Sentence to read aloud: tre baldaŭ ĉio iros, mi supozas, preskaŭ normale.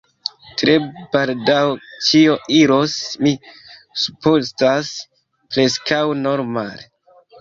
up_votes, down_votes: 0, 3